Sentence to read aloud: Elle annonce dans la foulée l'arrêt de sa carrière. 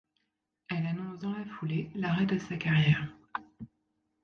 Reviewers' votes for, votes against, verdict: 2, 0, accepted